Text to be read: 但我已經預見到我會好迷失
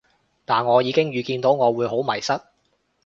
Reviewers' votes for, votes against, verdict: 3, 0, accepted